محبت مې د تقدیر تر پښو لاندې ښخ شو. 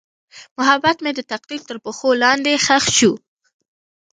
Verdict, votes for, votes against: rejected, 0, 2